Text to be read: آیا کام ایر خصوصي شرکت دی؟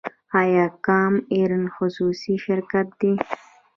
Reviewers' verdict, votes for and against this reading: accepted, 2, 0